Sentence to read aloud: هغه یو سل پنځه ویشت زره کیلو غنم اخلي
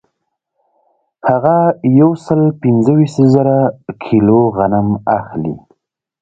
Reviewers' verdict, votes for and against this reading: accepted, 2, 0